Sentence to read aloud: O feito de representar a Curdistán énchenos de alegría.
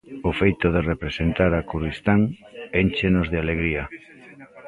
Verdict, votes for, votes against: rejected, 1, 2